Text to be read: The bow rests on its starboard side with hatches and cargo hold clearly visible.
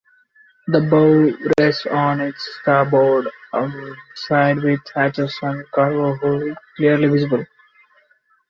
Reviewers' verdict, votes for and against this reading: accepted, 2, 1